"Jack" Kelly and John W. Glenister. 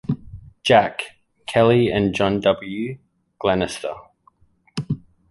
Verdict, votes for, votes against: accepted, 2, 0